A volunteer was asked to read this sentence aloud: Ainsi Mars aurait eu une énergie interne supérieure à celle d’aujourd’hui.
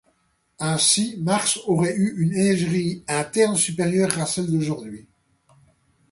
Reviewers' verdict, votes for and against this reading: rejected, 0, 2